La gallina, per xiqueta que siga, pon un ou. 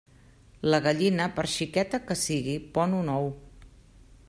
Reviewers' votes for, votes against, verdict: 1, 2, rejected